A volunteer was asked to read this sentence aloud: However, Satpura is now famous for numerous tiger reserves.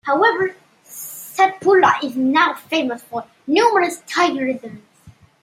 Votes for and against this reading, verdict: 1, 2, rejected